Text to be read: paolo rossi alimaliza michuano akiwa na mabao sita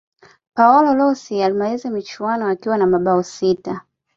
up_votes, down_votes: 2, 0